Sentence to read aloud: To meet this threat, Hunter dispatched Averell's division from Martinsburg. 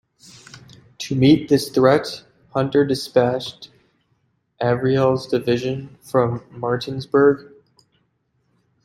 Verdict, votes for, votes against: rejected, 1, 2